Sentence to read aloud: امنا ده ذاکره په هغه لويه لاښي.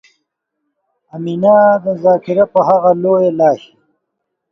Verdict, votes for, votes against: rejected, 0, 2